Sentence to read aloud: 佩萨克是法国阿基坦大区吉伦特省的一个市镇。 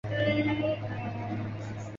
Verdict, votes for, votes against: rejected, 1, 2